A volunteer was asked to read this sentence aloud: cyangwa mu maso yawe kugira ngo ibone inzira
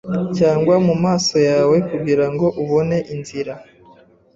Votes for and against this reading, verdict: 1, 2, rejected